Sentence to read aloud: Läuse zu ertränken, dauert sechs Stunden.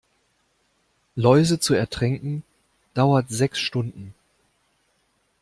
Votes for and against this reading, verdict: 2, 0, accepted